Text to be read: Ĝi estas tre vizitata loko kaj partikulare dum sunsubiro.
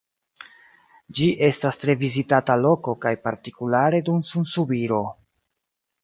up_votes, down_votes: 2, 0